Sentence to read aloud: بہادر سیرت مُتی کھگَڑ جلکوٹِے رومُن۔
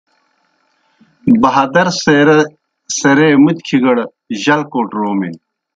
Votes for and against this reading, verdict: 0, 2, rejected